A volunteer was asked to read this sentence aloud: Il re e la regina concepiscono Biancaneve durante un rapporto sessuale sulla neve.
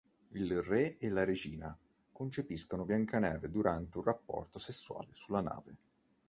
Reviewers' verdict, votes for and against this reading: rejected, 1, 2